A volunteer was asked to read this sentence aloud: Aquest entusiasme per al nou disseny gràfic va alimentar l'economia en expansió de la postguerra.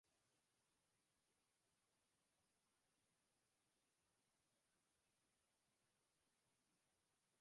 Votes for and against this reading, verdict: 0, 2, rejected